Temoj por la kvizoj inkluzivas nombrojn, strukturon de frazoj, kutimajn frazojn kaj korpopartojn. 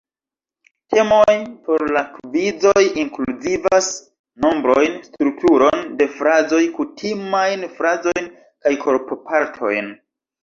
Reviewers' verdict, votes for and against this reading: rejected, 1, 2